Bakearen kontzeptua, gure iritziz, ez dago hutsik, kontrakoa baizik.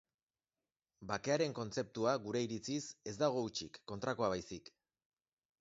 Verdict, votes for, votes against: rejected, 1, 2